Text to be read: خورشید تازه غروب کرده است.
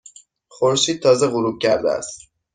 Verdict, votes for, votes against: accepted, 2, 0